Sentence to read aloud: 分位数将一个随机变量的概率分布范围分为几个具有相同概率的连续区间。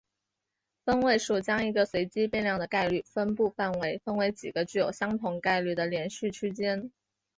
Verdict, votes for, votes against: rejected, 1, 2